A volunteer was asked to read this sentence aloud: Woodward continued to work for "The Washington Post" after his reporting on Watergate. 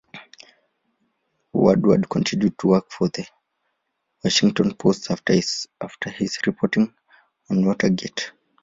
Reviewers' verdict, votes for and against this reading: rejected, 0, 2